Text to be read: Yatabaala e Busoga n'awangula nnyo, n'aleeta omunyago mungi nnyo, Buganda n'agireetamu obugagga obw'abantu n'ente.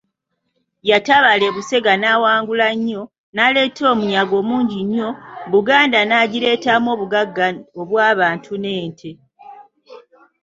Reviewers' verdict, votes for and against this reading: rejected, 1, 3